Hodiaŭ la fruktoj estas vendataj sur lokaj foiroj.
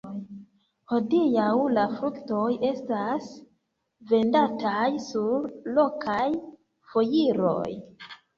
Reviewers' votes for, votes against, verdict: 0, 2, rejected